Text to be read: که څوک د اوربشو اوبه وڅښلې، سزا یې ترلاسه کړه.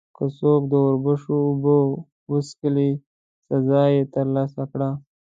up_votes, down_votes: 1, 2